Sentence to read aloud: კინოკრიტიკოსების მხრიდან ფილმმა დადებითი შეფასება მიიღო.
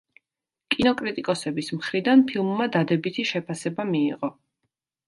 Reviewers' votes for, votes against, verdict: 2, 0, accepted